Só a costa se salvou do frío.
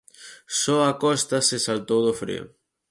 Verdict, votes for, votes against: rejected, 2, 4